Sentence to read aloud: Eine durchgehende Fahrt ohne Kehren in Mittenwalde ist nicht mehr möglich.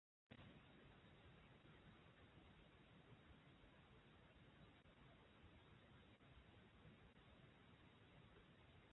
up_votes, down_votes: 0, 2